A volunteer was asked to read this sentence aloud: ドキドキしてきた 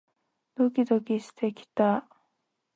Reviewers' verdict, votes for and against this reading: accepted, 2, 0